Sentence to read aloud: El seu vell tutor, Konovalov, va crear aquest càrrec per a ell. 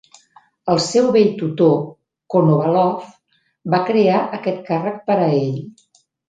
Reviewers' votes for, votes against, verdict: 3, 0, accepted